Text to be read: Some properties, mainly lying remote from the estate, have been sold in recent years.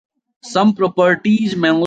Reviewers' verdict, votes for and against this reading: rejected, 0, 2